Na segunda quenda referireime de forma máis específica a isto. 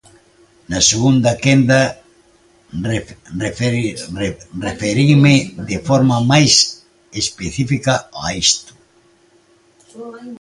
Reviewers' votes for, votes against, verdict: 0, 2, rejected